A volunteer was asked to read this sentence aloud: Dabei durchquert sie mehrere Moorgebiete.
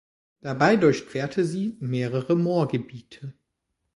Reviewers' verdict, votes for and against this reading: rejected, 1, 2